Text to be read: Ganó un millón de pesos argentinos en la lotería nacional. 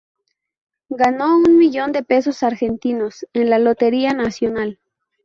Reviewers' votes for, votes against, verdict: 2, 0, accepted